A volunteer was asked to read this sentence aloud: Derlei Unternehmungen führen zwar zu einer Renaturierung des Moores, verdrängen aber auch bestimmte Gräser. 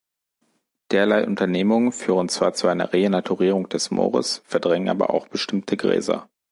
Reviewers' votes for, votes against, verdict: 3, 1, accepted